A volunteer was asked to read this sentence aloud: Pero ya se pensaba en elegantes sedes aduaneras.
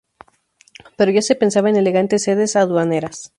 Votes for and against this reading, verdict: 2, 0, accepted